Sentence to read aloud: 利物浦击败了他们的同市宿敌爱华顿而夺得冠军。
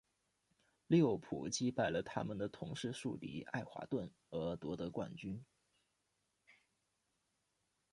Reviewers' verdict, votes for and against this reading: rejected, 1, 2